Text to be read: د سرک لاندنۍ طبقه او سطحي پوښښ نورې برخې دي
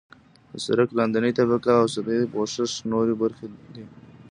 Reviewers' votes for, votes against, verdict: 1, 2, rejected